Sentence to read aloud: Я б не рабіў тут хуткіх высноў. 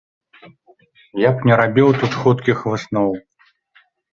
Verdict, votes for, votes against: accepted, 2, 0